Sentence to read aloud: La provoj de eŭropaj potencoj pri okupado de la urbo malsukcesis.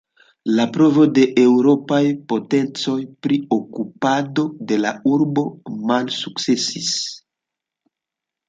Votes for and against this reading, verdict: 0, 2, rejected